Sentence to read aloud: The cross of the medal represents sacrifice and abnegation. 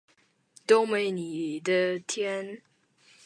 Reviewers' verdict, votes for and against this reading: rejected, 0, 2